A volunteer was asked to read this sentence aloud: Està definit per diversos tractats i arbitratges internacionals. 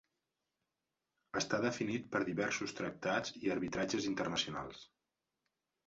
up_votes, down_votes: 2, 0